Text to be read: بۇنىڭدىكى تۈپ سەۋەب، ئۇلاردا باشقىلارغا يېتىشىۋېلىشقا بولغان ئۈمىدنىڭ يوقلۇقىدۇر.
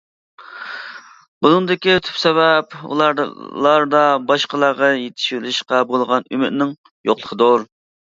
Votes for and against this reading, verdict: 0, 2, rejected